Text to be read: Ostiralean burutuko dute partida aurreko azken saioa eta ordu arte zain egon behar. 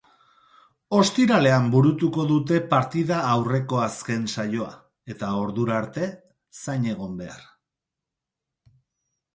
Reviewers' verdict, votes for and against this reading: accepted, 4, 0